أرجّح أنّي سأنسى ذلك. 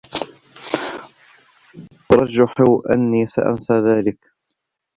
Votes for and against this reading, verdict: 2, 0, accepted